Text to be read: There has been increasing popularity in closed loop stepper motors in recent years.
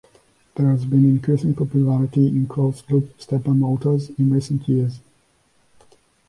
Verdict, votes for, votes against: accepted, 2, 0